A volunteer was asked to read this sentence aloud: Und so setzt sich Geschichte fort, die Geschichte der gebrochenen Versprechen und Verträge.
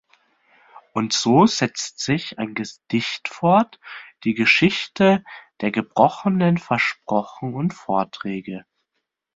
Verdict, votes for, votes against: rejected, 0, 2